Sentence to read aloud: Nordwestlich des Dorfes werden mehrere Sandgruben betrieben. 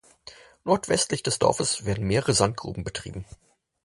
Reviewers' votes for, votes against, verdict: 4, 0, accepted